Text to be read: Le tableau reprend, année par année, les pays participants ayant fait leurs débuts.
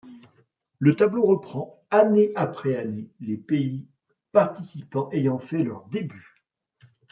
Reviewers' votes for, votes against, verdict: 1, 2, rejected